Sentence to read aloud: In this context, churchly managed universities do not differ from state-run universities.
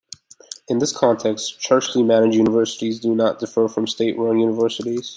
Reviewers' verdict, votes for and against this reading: accepted, 2, 0